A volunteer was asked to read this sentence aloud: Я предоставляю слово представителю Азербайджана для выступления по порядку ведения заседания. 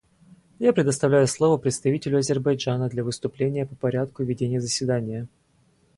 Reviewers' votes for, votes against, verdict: 2, 0, accepted